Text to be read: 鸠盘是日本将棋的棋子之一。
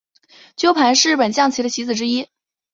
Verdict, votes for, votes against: accepted, 4, 0